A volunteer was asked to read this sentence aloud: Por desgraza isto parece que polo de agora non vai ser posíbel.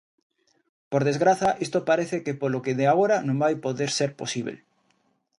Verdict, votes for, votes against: rejected, 0, 2